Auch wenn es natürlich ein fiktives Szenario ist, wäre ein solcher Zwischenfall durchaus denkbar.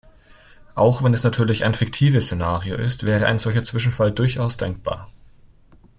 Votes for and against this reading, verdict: 2, 0, accepted